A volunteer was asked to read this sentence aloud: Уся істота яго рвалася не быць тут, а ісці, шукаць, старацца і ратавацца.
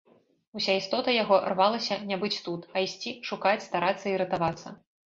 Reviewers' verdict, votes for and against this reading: accepted, 2, 0